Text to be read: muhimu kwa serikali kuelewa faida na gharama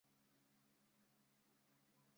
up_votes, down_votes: 0, 2